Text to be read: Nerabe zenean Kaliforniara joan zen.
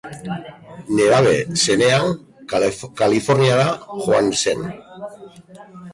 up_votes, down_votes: 0, 2